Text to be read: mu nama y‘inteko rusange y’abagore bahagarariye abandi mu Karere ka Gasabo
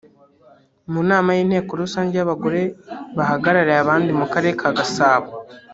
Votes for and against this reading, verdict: 1, 2, rejected